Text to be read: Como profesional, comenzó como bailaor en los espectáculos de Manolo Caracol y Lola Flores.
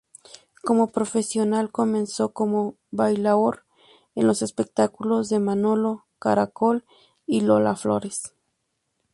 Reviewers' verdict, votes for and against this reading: accepted, 4, 0